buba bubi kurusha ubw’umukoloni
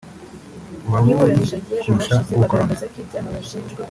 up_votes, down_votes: 1, 2